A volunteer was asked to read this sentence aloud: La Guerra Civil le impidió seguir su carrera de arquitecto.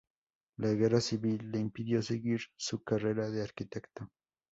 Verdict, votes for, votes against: rejected, 0, 4